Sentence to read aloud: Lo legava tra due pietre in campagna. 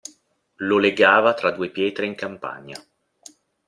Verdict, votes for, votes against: accepted, 2, 0